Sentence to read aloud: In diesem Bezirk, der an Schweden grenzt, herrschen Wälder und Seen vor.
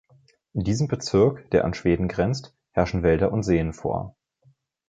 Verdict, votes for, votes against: accepted, 2, 0